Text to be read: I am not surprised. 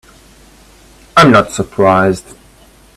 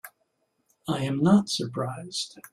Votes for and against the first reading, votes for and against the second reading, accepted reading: 1, 2, 2, 0, second